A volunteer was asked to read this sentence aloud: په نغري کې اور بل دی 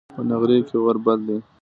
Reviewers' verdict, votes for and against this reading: accepted, 2, 0